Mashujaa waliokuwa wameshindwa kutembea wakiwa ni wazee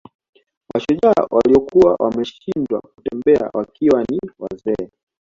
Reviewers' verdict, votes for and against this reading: accepted, 2, 1